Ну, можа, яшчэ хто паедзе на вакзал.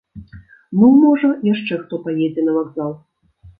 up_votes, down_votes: 2, 0